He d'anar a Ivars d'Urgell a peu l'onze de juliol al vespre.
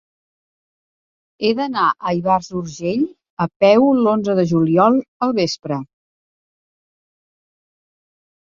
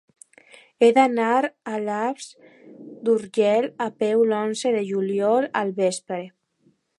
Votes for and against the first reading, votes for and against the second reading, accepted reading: 3, 0, 1, 2, first